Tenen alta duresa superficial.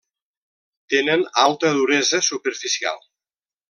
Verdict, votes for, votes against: accepted, 3, 0